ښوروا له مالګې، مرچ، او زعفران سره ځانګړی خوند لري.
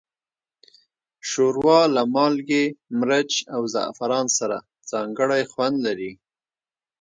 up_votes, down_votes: 2, 0